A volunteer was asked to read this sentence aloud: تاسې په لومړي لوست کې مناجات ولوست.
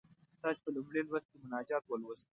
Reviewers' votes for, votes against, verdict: 2, 0, accepted